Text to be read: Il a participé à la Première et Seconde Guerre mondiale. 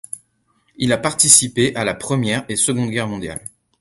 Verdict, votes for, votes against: accepted, 2, 0